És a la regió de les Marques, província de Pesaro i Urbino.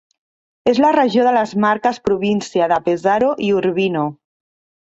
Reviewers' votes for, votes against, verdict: 2, 3, rejected